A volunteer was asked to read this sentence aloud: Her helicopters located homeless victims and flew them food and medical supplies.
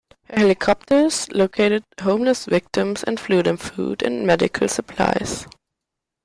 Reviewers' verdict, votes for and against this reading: accepted, 2, 0